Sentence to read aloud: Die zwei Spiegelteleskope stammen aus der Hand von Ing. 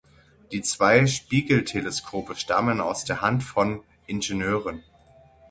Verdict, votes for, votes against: rejected, 3, 6